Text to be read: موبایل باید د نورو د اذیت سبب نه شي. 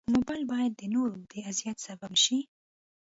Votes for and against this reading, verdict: 0, 2, rejected